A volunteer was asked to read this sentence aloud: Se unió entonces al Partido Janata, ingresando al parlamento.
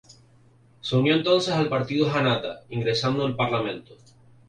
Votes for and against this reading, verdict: 2, 0, accepted